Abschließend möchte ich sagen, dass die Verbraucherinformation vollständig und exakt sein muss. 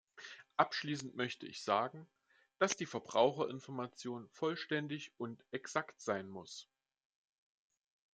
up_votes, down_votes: 2, 0